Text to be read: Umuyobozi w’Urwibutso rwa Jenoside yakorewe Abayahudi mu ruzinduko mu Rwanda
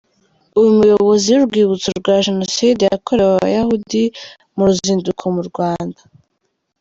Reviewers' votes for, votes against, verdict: 2, 0, accepted